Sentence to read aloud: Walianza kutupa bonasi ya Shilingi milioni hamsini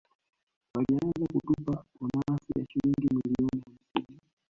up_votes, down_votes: 0, 2